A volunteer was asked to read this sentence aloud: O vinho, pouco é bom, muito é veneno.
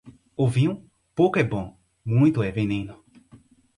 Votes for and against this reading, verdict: 2, 4, rejected